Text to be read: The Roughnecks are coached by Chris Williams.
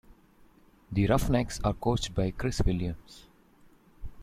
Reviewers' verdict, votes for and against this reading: accepted, 2, 0